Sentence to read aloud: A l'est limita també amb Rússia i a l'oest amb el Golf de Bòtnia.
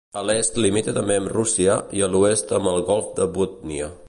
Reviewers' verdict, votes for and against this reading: rejected, 0, 2